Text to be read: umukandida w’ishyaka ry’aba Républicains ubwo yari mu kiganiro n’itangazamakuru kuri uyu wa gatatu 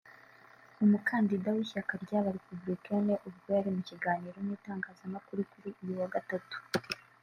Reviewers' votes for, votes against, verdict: 2, 0, accepted